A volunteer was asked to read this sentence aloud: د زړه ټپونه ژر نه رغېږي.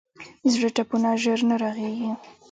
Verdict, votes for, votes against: rejected, 0, 2